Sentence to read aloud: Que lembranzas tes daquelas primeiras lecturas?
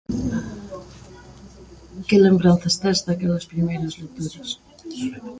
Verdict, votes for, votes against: rejected, 1, 2